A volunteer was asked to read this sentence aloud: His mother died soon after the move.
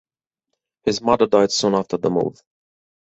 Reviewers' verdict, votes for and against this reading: accepted, 4, 2